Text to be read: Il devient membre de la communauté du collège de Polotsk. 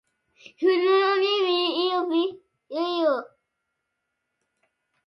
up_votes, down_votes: 0, 2